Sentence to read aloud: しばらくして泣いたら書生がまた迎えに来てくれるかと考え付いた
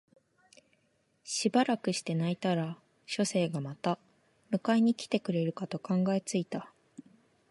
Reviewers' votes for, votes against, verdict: 2, 0, accepted